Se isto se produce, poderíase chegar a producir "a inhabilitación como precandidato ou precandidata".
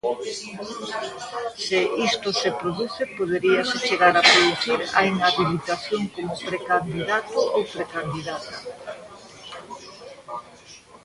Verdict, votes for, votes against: rejected, 0, 2